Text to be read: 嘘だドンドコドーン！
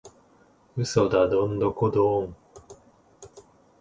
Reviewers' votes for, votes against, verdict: 2, 0, accepted